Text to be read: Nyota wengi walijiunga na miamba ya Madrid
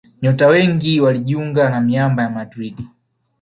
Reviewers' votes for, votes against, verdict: 2, 0, accepted